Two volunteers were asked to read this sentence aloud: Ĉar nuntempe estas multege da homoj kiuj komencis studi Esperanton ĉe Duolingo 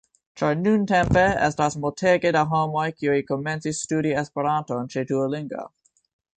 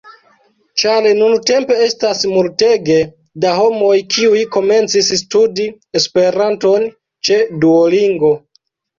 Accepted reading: first